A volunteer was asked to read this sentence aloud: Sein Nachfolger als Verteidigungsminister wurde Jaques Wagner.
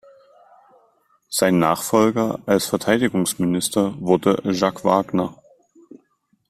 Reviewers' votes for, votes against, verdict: 2, 1, accepted